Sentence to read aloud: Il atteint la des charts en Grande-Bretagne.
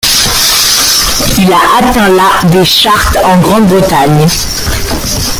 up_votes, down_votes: 0, 2